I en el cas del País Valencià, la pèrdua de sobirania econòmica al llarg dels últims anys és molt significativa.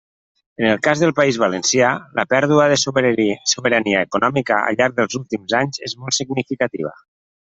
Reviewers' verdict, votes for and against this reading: rejected, 0, 2